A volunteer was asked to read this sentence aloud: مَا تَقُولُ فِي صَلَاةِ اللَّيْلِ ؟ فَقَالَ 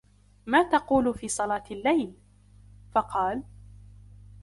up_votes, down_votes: 2, 0